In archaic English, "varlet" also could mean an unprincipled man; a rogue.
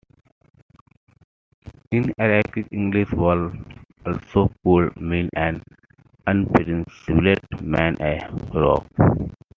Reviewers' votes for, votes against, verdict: 2, 1, accepted